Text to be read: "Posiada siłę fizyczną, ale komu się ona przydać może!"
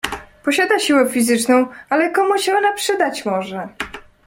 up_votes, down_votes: 2, 0